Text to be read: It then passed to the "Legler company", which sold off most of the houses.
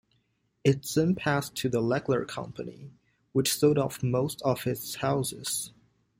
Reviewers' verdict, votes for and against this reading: rejected, 0, 2